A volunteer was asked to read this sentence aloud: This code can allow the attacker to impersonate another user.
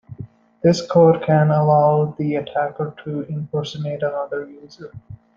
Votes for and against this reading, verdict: 2, 0, accepted